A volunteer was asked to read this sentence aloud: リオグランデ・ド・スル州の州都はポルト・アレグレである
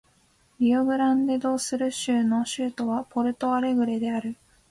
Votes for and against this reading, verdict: 2, 0, accepted